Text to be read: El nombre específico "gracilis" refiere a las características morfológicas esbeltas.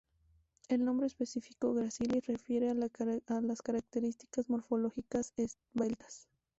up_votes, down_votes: 0, 2